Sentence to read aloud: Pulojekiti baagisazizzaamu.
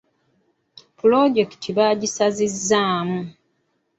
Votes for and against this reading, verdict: 2, 0, accepted